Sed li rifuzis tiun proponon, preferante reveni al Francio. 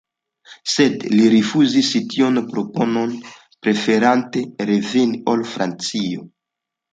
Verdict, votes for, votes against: accepted, 2, 1